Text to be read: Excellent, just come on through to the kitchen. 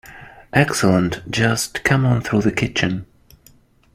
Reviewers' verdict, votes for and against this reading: rejected, 1, 2